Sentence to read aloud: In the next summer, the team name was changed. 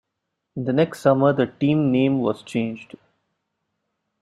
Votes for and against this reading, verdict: 1, 2, rejected